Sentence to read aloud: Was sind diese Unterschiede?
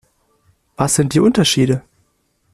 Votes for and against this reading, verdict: 1, 2, rejected